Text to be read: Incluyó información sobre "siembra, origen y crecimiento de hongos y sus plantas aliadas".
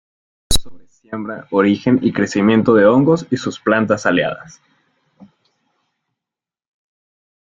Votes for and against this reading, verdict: 0, 3, rejected